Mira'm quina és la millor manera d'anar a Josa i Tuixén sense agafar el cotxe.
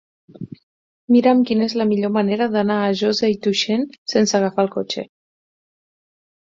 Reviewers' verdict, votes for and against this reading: accepted, 8, 0